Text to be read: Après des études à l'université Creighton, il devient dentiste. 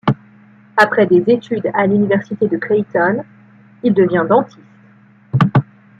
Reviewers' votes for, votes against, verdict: 0, 2, rejected